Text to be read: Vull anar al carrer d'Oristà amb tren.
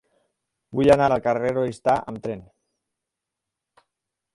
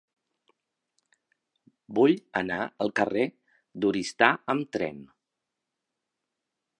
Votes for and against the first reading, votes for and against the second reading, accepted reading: 0, 4, 2, 0, second